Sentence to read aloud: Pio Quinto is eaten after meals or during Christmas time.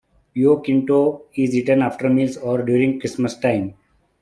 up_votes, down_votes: 3, 0